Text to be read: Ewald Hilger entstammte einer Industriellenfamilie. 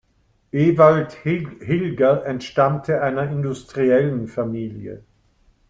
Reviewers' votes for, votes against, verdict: 0, 3, rejected